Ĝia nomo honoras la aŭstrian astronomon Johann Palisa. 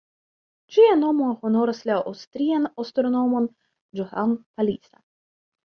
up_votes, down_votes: 0, 2